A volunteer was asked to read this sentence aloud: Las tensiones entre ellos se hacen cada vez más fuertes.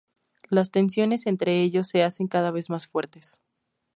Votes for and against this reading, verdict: 2, 0, accepted